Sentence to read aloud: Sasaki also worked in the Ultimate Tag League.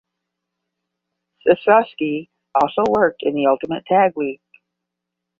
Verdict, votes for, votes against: rejected, 5, 5